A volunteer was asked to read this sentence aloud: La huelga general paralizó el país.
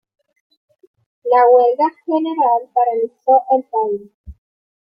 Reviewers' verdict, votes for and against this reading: accepted, 2, 0